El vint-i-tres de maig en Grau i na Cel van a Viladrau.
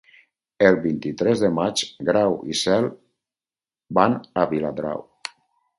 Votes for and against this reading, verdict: 0, 4, rejected